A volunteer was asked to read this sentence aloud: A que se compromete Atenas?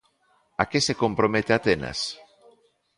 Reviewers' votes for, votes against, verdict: 2, 0, accepted